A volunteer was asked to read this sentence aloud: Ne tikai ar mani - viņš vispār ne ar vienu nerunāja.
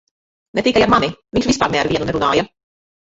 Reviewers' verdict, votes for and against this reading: rejected, 1, 2